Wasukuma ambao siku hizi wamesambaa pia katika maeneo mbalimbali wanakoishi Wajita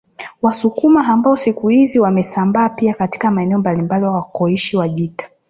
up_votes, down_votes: 0, 2